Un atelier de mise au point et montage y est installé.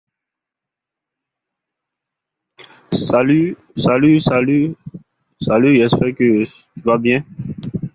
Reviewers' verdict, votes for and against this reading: rejected, 0, 2